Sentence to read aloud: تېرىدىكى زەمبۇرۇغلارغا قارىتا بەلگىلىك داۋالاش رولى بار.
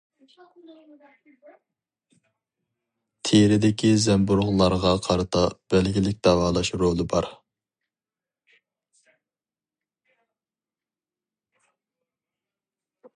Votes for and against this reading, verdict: 2, 0, accepted